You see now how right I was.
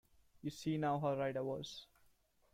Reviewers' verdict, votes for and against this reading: accepted, 2, 0